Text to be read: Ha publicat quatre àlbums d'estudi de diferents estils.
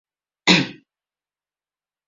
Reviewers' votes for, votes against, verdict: 0, 2, rejected